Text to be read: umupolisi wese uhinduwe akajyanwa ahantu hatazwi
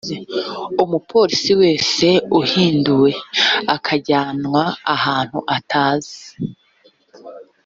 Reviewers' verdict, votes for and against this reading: rejected, 0, 2